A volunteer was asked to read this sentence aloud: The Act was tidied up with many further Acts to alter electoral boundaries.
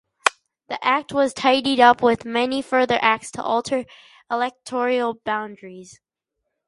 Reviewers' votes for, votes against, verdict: 0, 2, rejected